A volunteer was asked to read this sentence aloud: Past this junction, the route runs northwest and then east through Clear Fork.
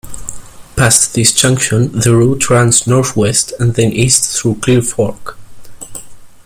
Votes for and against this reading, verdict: 1, 2, rejected